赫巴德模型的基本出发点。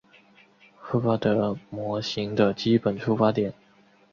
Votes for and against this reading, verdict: 3, 0, accepted